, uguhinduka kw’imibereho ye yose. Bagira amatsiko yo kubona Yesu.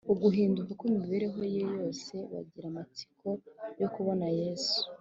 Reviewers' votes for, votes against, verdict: 2, 0, accepted